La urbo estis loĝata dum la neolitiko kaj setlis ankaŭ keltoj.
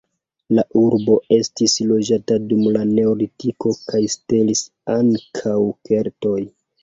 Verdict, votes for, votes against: rejected, 1, 2